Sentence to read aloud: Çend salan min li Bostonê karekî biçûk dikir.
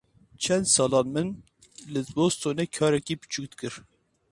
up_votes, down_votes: 4, 0